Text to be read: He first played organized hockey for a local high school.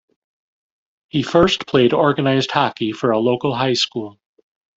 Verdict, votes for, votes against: rejected, 1, 2